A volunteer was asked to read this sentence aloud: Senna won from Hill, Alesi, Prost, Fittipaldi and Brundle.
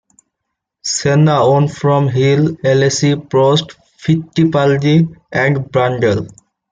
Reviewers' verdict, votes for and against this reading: rejected, 0, 2